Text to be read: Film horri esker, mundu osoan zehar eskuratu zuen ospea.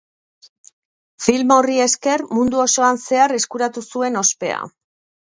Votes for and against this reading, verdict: 2, 0, accepted